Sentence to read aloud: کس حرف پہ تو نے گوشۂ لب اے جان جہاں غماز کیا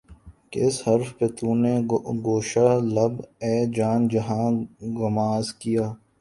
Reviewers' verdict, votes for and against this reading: accepted, 4, 3